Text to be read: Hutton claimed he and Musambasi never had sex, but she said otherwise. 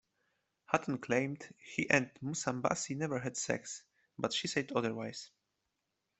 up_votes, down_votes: 2, 0